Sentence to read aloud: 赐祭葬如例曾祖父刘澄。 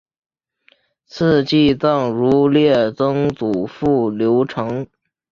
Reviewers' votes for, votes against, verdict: 5, 0, accepted